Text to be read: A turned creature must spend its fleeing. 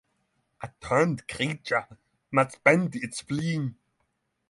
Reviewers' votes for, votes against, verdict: 3, 6, rejected